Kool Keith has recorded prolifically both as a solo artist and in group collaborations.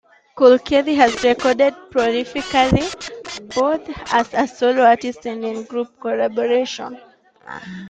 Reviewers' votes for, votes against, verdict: 1, 2, rejected